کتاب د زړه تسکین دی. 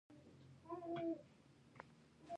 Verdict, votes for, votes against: accepted, 2, 1